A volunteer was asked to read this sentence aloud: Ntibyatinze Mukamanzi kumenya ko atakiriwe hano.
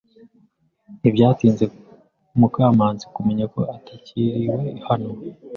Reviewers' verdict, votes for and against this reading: accepted, 2, 0